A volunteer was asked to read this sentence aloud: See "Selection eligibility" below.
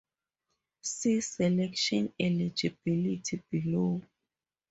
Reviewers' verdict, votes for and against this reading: accepted, 4, 0